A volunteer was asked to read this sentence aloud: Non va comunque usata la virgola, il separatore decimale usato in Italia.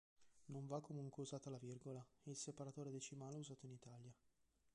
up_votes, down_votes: 0, 2